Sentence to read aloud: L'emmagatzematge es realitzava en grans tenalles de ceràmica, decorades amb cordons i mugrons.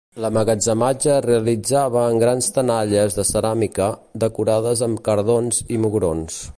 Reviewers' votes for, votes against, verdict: 0, 2, rejected